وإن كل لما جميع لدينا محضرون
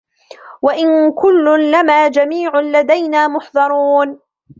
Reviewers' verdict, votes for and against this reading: accepted, 2, 1